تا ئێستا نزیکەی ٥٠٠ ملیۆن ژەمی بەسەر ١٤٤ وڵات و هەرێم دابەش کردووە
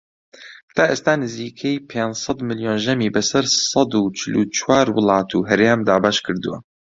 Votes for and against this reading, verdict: 0, 2, rejected